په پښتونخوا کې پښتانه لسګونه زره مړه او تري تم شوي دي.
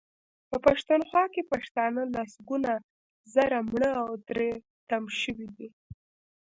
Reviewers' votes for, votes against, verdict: 2, 0, accepted